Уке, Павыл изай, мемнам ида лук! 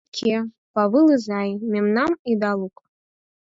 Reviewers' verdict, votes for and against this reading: rejected, 2, 4